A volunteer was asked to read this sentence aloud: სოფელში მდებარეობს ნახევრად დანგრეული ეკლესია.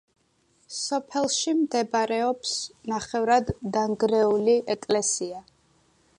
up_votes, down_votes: 2, 0